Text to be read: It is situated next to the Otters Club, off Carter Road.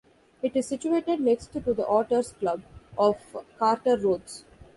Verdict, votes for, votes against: rejected, 1, 2